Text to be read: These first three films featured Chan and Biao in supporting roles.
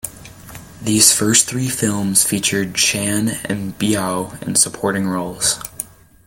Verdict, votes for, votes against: accepted, 2, 0